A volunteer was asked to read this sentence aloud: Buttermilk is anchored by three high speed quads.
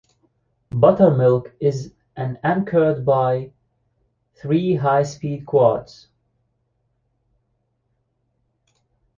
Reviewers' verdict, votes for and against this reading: rejected, 1, 2